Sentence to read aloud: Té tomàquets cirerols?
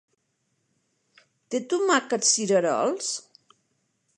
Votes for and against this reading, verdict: 3, 0, accepted